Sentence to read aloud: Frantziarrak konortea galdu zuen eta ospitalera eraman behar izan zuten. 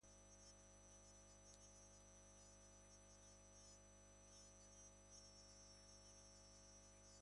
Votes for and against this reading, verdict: 0, 2, rejected